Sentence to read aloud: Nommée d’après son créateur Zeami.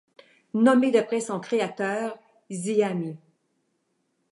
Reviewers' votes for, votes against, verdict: 3, 0, accepted